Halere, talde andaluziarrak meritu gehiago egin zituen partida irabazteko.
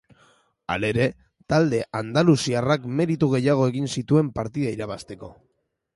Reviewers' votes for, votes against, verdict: 3, 1, accepted